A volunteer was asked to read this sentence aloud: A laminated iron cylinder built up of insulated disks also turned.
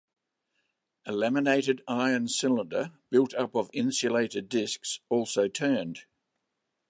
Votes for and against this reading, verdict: 2, 0, accepted